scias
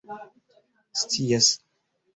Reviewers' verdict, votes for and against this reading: rejected, 1, 2